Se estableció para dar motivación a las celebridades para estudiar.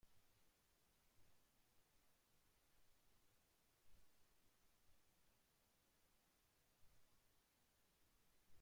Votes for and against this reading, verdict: 1, 2, rejected